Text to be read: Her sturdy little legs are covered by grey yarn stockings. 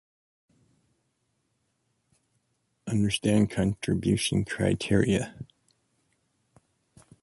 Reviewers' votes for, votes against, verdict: 0, 2, rejected